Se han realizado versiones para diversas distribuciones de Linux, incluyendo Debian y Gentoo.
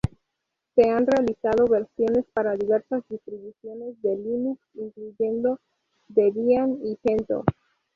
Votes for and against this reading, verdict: 0, 2, rejected